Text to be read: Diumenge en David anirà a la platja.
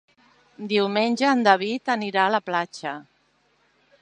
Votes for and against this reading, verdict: 3, 0, accepted